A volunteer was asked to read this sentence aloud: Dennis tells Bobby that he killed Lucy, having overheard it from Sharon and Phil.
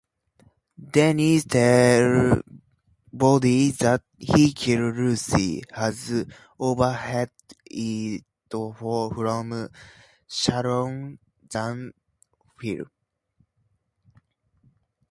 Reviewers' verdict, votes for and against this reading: accepted, 2, 0